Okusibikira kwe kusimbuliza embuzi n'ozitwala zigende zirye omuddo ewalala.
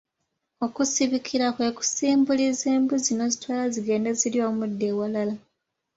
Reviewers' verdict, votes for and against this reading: accepted, 2, 0